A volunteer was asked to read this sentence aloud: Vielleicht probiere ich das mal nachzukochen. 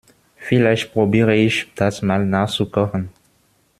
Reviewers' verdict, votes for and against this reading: accepted, 2, 0